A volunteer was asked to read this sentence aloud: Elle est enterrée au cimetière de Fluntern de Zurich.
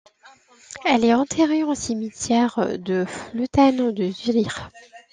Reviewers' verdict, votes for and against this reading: rejected, 1, 2